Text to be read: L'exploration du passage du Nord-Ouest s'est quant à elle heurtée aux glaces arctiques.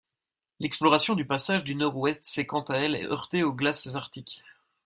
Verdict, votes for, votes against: accepted, 2, 0